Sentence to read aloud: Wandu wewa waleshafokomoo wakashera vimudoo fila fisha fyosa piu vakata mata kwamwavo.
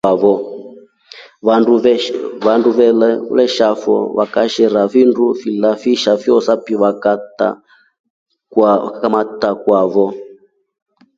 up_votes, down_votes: 1, 2